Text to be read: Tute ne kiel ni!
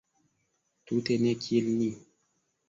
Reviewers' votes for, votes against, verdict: 2, 1, accepted